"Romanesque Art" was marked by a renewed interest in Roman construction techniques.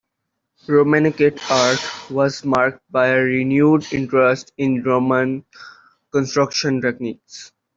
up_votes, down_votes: 1, 2